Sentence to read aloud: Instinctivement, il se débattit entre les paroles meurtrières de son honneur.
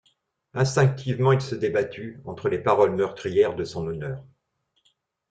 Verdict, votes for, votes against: rejected, 0, 2